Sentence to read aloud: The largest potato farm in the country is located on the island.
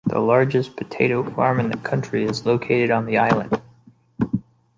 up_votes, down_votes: 2, 0